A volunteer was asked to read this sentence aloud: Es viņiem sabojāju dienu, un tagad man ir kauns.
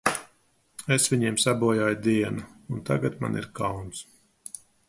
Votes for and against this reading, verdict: 2, 0, accepted